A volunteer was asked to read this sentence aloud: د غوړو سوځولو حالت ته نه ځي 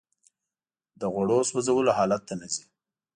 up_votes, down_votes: 2, 0